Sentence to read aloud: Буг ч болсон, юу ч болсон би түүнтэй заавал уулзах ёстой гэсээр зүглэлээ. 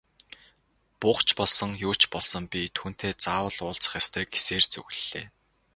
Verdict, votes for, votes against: rejected, 0, 2